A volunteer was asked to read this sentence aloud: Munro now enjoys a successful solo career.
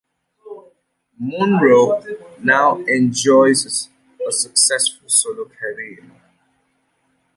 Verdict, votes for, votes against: rejected, 1, 2